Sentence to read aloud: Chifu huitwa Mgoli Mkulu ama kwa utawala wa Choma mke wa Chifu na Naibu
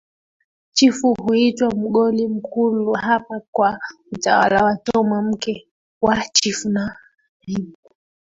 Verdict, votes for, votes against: rejected, 0, 2